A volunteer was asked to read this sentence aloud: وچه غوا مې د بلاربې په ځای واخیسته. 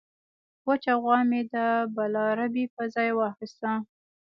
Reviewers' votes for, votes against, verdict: 0, 2, rejected